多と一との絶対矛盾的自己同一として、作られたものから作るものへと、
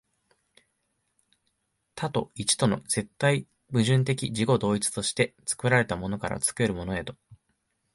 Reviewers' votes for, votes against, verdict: 2, 0, accepted